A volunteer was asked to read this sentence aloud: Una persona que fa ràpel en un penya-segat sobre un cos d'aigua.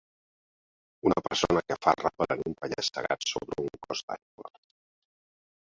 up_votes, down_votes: 0, 2